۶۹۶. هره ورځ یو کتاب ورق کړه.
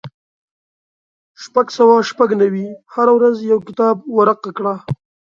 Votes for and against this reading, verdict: 0, 2, rejected